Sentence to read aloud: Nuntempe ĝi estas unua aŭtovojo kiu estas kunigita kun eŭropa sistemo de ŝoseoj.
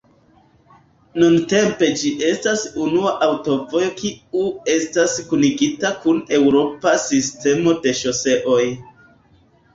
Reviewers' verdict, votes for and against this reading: accepted, 2, 0